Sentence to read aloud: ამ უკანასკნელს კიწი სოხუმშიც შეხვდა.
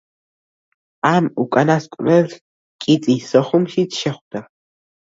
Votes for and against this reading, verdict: 1, 2, rejected